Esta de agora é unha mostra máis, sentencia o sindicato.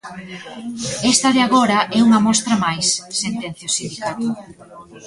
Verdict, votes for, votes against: rejected, 1, 2